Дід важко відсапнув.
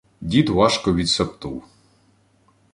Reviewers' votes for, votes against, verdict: 0, 2, rejected